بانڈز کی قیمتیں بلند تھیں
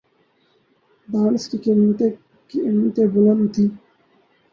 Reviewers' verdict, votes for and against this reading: rejected, 0, 2